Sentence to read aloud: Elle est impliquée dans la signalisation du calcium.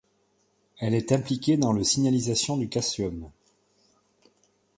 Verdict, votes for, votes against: rejected, 1, 2